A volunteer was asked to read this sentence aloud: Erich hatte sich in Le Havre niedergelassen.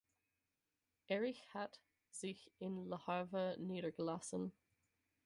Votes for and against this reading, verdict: 0, 4, rejected